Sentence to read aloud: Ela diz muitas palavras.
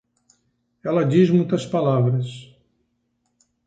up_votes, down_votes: 6, 0